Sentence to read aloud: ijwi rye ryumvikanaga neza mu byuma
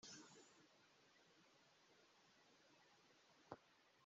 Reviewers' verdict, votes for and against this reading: rejected, 0, 2